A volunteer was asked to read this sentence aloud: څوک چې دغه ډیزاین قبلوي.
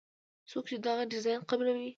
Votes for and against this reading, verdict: 2, 0, accepted